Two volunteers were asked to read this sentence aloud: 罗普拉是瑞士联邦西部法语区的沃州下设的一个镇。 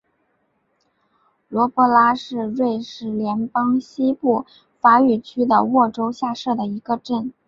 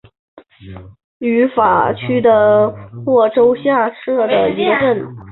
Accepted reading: first